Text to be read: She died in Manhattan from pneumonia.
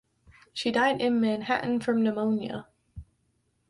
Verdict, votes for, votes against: accepted, 3, 0